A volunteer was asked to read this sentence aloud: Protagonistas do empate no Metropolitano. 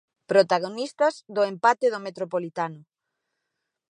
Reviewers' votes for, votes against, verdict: 2, 0, accepted